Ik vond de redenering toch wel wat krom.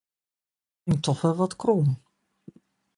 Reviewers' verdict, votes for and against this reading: rejected, 0, 2